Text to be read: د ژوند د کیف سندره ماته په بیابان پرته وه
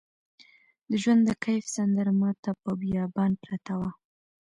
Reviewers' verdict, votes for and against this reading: rejected, 1, 2